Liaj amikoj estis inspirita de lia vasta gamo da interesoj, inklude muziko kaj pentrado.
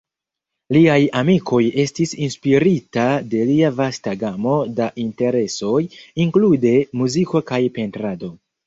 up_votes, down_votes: 2, 0